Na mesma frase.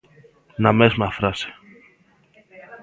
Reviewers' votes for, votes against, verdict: 2, 0, accepted